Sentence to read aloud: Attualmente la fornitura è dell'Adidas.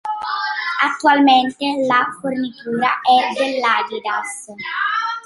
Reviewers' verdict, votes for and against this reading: accepted, 2, 0